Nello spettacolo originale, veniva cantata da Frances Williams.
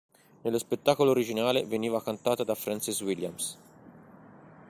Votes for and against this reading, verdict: 2, 1, accepted